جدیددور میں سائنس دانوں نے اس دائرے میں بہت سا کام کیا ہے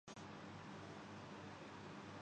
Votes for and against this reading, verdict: 0, 3, rejected